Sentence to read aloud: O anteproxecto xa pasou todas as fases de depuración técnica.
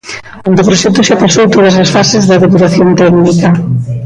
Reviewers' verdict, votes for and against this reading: rejected, 0, 2